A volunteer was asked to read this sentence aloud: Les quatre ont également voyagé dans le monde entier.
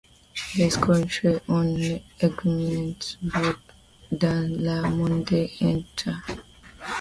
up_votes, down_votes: 1, 2